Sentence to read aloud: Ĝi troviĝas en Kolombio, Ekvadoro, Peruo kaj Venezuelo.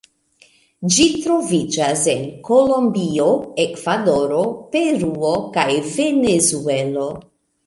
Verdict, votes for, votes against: accepted, 2, 0